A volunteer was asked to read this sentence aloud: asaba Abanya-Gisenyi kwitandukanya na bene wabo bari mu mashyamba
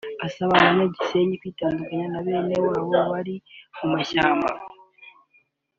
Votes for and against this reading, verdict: 2, 0, accepted